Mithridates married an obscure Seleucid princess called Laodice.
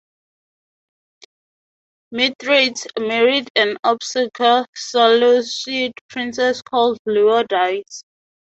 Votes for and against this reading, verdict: 0, 2, rejected